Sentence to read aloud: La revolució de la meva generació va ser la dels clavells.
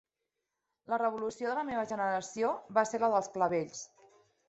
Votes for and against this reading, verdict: 3, 0, accepted